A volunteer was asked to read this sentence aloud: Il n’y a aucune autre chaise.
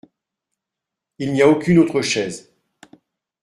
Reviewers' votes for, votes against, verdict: 2, 0, accepted